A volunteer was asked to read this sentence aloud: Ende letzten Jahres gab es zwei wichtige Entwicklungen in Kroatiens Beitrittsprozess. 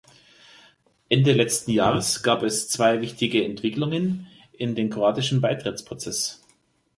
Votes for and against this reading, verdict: 0, 2, rejected